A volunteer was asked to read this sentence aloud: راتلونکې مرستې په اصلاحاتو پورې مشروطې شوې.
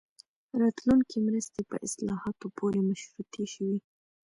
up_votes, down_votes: 1, 2